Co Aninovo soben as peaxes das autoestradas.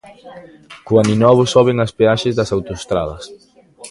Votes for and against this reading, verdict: 2, 0, accepted